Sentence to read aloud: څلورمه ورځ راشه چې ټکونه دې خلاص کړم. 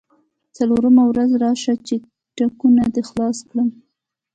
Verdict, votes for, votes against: rejected, 0, 2